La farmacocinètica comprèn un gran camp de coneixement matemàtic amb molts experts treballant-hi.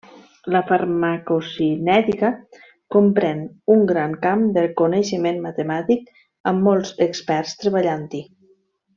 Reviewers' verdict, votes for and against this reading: rejected, 1, 2